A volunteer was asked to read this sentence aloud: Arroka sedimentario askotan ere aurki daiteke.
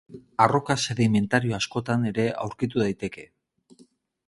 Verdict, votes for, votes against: rejected, 0, 2